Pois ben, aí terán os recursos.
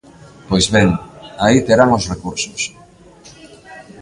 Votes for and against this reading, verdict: 2, 0, accepted